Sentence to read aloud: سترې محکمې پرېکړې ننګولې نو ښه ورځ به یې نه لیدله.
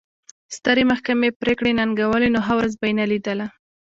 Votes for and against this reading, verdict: 0, 2, rejected